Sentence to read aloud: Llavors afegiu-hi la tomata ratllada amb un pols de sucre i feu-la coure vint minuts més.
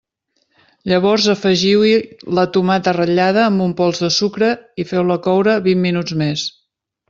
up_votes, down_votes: 3, 0